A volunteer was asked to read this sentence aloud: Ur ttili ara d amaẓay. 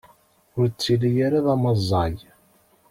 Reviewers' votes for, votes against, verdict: 1, 2, rejected